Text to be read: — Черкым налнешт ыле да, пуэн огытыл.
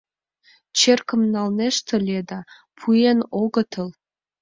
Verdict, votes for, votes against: accepted, 2, 0